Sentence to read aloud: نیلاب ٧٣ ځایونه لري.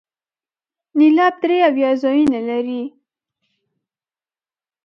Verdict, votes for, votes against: rejected, 0, 2